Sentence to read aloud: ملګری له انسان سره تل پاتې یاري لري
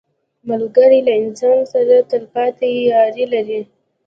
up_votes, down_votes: 1, 2